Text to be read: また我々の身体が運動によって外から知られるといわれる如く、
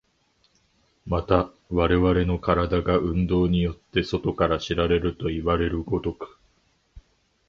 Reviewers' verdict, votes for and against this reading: accepted, 2, 0